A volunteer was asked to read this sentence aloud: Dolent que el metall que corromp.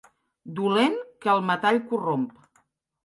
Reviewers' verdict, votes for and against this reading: rejected, 1, 3